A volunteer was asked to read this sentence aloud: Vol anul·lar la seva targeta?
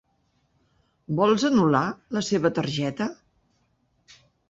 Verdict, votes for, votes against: rejected, 0, 2